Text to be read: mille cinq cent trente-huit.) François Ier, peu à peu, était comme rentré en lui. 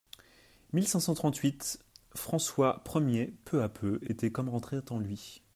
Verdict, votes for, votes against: rejected, 0, 2